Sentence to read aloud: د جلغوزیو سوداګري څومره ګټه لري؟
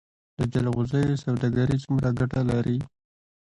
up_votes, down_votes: 2, 0